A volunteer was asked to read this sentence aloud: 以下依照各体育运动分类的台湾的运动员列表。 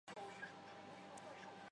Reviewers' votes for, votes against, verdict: 0, 2, rejected